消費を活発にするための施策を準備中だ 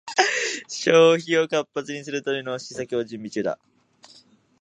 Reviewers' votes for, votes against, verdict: 2, 0, accepted